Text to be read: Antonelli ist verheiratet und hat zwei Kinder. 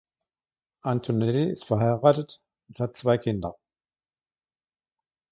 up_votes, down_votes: 2, 0